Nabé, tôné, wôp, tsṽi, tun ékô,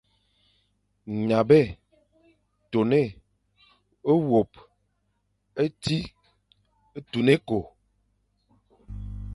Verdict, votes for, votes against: accepted, 2, 0